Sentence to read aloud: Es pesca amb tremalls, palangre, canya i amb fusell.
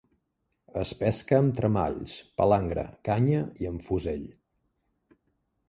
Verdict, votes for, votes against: accepted, 3, 0